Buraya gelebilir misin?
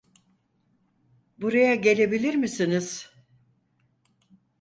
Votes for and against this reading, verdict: 0, 4, rejected